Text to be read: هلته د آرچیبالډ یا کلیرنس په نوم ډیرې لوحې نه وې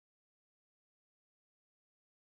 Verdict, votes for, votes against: rejected, 0, 2